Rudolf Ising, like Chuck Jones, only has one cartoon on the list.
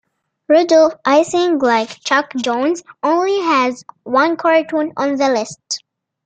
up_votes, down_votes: 2, 0